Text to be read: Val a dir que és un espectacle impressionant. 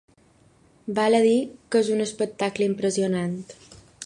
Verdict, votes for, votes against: accepted, 2, 0